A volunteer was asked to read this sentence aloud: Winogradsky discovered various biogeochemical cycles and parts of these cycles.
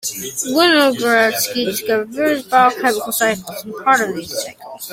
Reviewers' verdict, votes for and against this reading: rejected, 0, 2